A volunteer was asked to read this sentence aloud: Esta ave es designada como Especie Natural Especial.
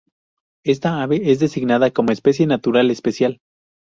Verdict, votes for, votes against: rejected, 2, 2